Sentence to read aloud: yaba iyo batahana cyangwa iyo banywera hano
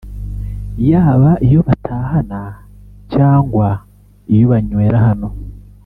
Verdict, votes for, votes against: accepted, 2, 0